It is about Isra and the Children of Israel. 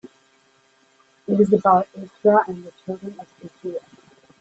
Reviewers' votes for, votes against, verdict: 0, 2, rejected